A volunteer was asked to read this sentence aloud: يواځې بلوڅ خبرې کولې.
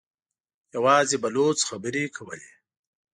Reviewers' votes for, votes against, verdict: 2, 0, accepted